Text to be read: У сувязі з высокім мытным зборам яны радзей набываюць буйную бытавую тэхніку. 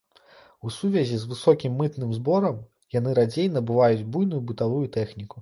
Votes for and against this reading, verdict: 0, 2, rejected